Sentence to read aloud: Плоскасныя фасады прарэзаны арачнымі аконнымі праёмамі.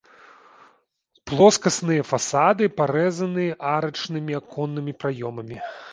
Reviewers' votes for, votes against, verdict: 0, 2, rejected